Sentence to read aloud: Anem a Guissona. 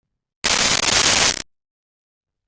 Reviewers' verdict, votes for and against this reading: rejected, 0, 2